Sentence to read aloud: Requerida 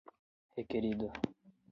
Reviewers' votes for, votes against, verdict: 4, 8, rejected